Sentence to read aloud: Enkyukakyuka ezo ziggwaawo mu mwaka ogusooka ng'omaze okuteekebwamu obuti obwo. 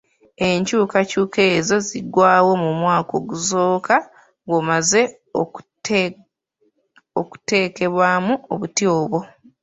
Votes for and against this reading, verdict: 2, 0, accepted